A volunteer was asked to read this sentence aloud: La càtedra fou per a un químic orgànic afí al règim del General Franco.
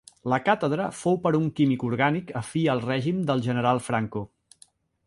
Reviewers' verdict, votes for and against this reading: rejected, 1, 2